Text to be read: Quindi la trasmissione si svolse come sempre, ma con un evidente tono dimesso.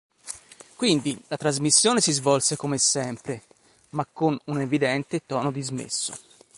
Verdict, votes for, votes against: rejected, 0, 4